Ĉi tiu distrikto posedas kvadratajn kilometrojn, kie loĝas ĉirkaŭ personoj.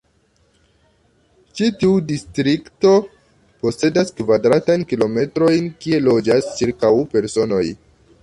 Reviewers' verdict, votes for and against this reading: accepted, 2, 0